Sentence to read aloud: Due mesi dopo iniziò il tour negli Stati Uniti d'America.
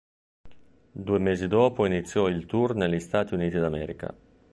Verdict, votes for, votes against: accepted, 3, 0